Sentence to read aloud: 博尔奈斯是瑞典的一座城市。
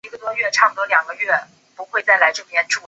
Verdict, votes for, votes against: rejected, 1, 3